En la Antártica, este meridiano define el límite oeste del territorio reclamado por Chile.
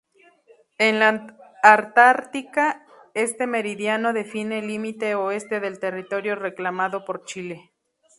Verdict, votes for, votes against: accepted, 2, 0